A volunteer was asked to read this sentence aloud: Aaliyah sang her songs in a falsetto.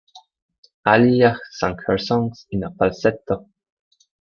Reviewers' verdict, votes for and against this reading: accepted, 2, 0